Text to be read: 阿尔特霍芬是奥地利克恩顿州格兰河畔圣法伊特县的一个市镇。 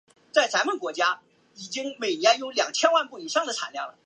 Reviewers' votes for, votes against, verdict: 1, 2, rejected